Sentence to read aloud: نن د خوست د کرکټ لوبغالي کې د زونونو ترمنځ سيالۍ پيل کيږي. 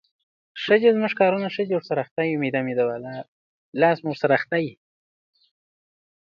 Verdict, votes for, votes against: rejected, 0, 2